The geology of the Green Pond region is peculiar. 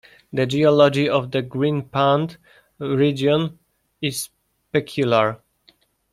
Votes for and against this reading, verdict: 1, 2, rejected